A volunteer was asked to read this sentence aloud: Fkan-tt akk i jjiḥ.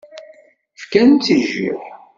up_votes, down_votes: 1, 2